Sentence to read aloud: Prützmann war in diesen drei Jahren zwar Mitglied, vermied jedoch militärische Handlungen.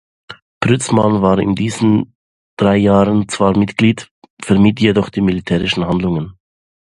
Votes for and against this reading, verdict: 0, 2, rejected